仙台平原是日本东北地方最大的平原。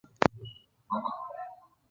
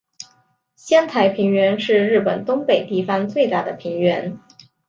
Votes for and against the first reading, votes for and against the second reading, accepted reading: 0, 3, 2, 0, second